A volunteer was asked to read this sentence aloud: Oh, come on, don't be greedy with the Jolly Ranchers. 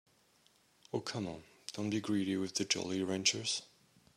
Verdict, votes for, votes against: accepted, 2, 0